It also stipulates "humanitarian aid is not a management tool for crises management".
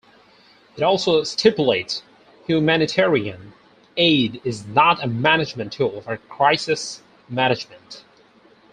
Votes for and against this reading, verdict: 2, 2, rejected